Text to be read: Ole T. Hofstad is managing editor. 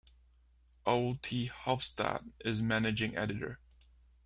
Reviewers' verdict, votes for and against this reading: accepted, 3, 0